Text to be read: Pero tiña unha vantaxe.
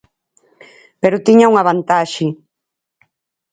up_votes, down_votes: 4, 0